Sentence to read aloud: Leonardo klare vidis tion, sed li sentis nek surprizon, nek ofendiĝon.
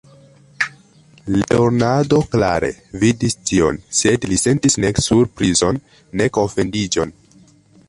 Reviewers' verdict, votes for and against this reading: rejected, 0, 2